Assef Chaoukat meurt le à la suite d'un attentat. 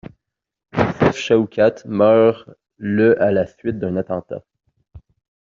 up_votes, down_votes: 0, 2